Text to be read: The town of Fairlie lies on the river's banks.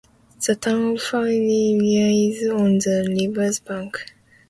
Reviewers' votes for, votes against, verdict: 0, 2, rejected